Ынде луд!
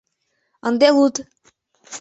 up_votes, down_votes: 3, 0